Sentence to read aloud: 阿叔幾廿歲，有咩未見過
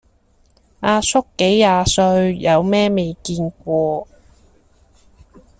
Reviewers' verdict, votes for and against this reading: accepted, 2, 0